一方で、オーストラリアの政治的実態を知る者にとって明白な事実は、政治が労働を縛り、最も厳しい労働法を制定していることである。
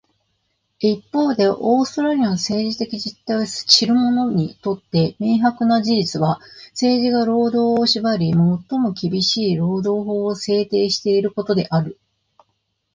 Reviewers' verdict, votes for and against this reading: accepted, 2, 1